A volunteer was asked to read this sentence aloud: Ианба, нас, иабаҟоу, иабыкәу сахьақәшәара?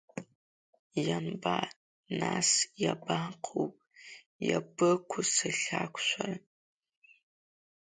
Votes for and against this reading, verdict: 1, 2, rejected